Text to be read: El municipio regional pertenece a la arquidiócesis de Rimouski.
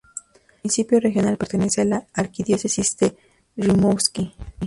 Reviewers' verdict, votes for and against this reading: rejected, 0, 2